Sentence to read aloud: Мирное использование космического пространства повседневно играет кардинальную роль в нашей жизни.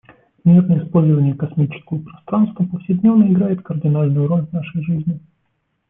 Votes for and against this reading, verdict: 2, 1, accepted